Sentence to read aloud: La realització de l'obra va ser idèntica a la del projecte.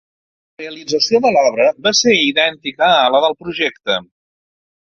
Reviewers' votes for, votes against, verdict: 0, 2, rejected